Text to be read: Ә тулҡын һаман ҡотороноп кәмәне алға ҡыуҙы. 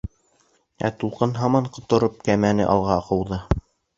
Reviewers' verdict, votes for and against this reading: rejected, 2, 3